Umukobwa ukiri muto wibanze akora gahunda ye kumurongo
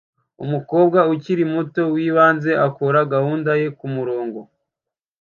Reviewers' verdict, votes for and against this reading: accepted, 2, 0